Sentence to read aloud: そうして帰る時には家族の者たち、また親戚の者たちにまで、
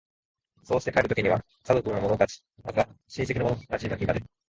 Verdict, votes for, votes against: rejected, 1, 2